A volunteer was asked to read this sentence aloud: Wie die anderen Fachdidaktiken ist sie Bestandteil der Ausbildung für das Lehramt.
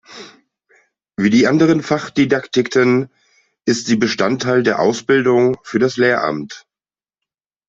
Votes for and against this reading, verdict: 1, 2, rejected